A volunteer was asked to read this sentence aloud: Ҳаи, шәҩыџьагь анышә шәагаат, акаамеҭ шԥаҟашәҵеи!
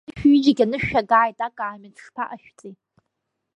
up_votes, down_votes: 0, 2